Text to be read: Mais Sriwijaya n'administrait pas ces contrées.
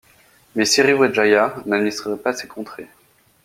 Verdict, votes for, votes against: rejected, 0, 2